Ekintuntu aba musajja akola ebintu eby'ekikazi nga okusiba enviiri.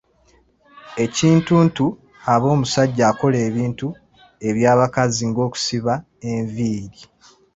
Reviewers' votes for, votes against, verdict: 2, 0, accepted